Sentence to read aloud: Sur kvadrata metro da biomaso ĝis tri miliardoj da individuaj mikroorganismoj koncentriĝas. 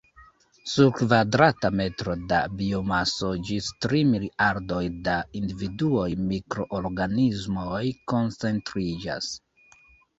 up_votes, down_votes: 0, 2